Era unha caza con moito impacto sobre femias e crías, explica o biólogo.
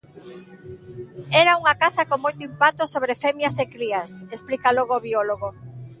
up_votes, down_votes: 1, 2